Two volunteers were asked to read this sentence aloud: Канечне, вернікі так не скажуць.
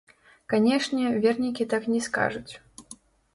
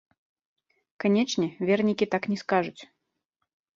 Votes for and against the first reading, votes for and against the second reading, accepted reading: 1, 2, 2, 0, second